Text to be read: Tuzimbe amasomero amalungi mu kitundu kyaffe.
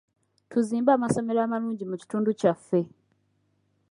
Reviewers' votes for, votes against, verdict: 2, 0, accepted